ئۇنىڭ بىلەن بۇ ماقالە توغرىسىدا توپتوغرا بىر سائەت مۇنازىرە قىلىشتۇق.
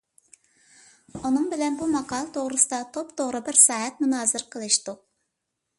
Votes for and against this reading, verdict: 2, 0, accepted